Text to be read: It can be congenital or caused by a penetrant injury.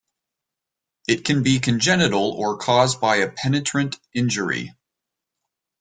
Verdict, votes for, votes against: accepted, 2, 0